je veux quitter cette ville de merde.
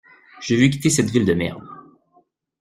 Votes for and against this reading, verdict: 1, 2, rejected